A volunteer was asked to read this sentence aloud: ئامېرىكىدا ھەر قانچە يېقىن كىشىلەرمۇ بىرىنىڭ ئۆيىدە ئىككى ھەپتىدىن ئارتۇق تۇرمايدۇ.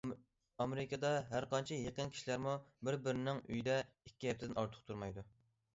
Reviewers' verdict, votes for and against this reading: rejected, 0, 2